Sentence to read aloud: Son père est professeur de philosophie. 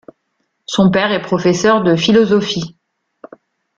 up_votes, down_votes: 2, 0